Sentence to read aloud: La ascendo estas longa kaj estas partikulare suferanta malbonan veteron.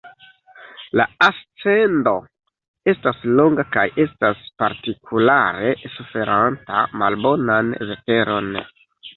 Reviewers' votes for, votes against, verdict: 0, 2, rejected